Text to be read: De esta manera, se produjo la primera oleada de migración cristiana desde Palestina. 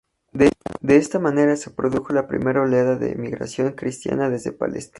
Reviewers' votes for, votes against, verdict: 0, 2, rejected